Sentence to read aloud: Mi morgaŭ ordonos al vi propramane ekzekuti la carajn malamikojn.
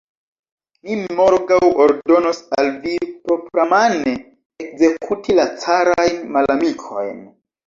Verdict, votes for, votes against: rejected, 1, 2